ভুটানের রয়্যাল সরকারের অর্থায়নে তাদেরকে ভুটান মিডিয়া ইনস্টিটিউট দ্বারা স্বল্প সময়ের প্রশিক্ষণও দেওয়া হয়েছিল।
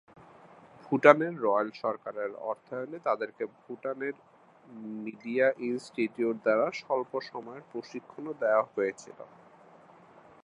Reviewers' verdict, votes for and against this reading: rejected, 0, 2